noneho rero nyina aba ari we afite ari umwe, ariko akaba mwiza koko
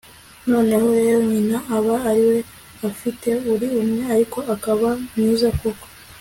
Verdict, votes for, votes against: accepted, 2, 1